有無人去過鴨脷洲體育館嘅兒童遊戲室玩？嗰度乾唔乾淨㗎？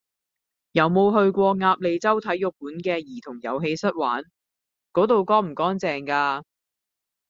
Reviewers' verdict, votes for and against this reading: rejected, 0, 2